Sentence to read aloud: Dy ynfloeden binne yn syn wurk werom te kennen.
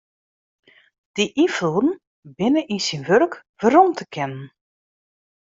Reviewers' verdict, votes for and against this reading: accepted, 2, 0